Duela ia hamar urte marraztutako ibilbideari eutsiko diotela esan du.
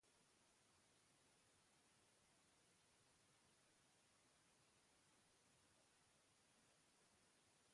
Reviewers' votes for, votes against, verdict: 0, 2, rejected